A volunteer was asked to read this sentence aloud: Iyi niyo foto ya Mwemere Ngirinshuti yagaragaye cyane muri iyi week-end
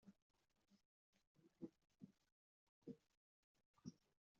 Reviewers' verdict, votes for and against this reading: rejected, 0, 2